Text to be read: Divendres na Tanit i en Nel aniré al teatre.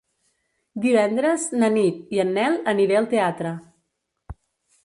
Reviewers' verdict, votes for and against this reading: rejected, 1, 2